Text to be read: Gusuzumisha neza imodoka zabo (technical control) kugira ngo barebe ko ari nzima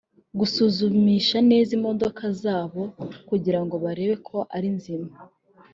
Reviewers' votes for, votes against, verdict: 0, 3, rejected